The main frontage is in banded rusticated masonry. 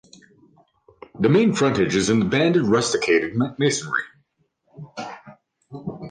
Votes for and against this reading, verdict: 2, 1, accepted